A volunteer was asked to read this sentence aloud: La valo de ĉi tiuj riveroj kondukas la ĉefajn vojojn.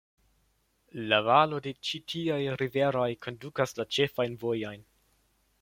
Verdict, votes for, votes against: accepted, 2, 1